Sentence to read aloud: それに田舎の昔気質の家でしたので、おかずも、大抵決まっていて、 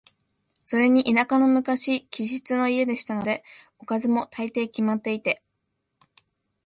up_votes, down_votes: 2, 0